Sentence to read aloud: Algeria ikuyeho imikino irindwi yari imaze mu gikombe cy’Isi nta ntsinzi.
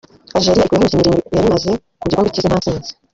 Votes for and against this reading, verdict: 0, 2, rejected